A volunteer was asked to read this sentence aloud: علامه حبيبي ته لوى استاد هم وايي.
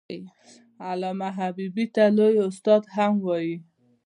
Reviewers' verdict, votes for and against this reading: accepted, 2, 0